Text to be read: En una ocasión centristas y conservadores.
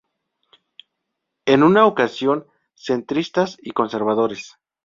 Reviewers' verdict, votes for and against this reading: accepted, 2, 0